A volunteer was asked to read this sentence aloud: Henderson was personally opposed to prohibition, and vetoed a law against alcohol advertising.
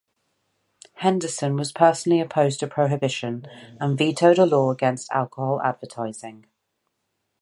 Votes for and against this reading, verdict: 2, 0, accepted